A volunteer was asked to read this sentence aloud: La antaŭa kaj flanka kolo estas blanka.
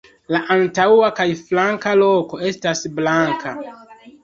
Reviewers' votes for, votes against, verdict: 2, 4, rejected